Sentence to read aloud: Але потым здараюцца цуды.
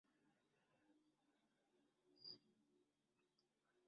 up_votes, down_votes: 0, 2